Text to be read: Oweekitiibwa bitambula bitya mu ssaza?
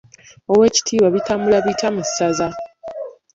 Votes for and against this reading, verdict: 2, 1, accepted